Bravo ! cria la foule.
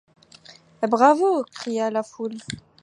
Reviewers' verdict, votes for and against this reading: accepted, 2, 0